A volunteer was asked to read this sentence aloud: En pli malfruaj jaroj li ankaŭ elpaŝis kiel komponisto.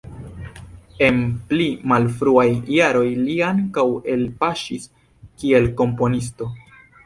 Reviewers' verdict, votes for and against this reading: accepted, 2, 0